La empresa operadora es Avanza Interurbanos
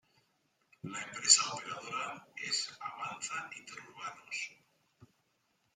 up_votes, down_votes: 0, 2